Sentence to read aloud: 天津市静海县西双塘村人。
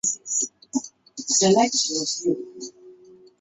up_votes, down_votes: 1, 2